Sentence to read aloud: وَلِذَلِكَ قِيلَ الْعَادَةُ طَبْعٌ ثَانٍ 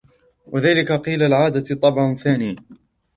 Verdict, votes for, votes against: rejected, 0, 2